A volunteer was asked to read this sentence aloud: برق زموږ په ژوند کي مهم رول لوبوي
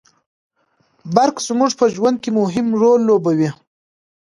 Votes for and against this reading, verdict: 2, 1, accepted